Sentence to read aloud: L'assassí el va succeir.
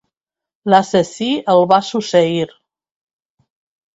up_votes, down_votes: 0, 2